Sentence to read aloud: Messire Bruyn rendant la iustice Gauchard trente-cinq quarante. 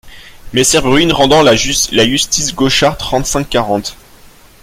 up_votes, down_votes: 1, 2